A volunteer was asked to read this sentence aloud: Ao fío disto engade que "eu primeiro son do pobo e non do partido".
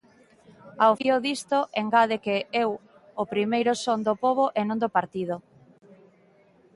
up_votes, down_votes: 0, 2